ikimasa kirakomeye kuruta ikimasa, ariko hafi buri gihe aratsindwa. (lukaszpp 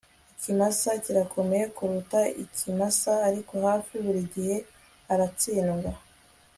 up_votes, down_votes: 2, 0